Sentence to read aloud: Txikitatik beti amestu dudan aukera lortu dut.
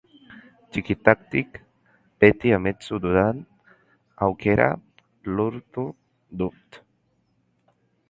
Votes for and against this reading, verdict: 0, 2, rejected